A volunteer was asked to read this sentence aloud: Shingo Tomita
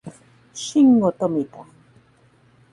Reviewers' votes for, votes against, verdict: 2, 4, rejected